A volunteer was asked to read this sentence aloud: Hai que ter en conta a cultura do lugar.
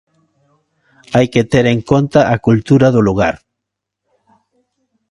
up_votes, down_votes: 2, 0